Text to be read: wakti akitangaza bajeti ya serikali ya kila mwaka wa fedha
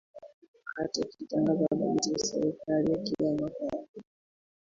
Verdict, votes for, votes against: rejected, 0, 2